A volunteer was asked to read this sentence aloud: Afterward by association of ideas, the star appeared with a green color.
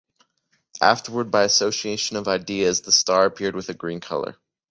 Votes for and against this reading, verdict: 2, 0, accepted